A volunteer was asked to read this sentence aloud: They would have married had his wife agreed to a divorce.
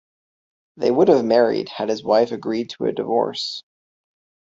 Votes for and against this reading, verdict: 3, 0, accepted